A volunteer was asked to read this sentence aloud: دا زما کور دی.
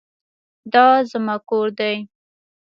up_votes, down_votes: 2, 0